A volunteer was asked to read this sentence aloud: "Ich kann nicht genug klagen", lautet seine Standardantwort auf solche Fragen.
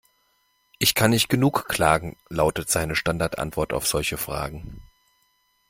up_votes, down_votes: 2, 0